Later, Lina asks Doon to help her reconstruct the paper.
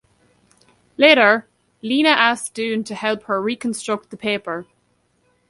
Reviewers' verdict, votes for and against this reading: accepted, 2, 0